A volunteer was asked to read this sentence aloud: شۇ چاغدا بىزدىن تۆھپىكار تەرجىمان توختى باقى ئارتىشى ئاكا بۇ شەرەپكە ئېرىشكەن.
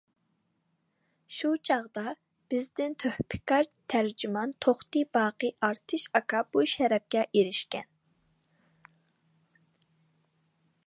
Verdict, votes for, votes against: rejected, 0, 2